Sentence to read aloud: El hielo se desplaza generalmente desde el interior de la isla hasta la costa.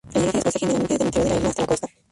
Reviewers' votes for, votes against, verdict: 0, 4, rejected